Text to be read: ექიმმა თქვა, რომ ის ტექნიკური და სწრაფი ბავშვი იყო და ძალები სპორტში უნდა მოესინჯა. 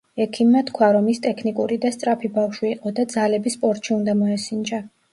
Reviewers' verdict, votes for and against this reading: accepted, 2, 0